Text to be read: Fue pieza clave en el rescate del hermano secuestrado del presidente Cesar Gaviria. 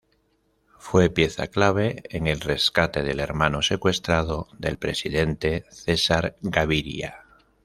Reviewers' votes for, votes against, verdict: 2, 0, accepted